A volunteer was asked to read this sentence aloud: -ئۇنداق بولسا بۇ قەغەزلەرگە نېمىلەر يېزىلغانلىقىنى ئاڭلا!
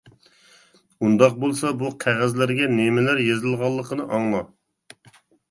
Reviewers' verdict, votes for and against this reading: accepted, 3, 0